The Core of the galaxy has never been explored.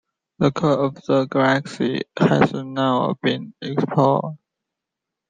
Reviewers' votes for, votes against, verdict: 1, 2, rejected